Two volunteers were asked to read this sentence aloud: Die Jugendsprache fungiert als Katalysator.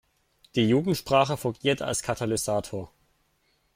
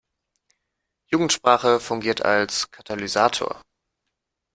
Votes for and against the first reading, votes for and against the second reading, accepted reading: 2, 0, 0, 2, first